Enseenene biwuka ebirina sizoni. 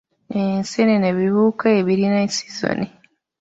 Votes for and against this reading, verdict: 0, 2, rejected